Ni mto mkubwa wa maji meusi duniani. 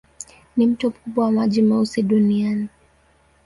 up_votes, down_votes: 1, 2